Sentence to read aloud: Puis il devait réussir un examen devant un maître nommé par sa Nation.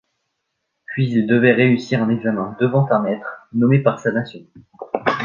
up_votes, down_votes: 2, 1